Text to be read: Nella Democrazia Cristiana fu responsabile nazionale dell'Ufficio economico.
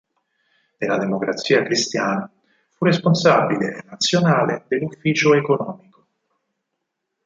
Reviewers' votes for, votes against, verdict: 2, 6, rejected